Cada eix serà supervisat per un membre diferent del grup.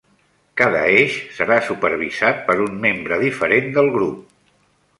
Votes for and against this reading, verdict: 3, 0, accepted